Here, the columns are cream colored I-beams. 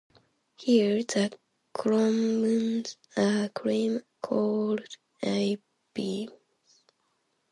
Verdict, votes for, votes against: accepted, 2, 0